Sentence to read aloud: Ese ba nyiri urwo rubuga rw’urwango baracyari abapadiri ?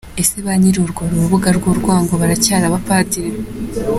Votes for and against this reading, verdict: 2, 0, accepted